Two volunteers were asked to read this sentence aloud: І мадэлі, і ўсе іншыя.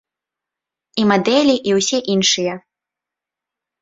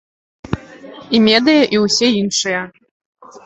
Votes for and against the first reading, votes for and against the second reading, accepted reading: 2, 0, 0, 2, first